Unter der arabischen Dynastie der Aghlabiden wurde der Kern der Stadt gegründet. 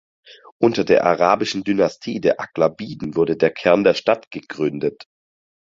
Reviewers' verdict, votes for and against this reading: accepted, 4, 0